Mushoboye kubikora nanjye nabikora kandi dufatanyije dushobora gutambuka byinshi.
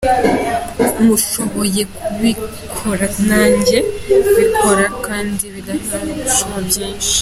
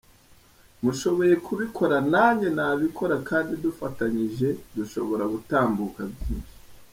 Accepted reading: second